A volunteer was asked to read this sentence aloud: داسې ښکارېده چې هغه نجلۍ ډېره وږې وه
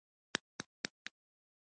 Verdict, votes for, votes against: rejected, 1, 2